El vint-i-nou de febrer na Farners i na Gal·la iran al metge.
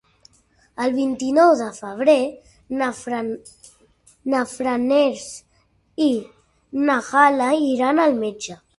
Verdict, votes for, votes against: rejected, 0, 2